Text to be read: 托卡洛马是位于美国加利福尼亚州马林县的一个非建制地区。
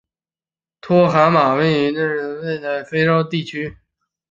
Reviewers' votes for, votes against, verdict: 0, 2, rejected